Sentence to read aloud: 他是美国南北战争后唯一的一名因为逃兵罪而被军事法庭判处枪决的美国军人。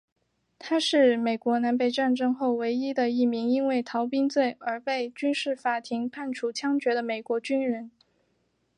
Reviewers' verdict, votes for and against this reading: accepted, 2, 1